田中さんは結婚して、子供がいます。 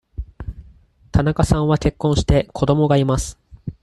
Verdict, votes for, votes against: accepted, 4, 0